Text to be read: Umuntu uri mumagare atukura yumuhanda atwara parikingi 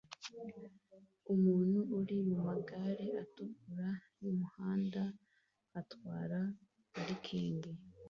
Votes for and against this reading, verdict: 2, 0, accepted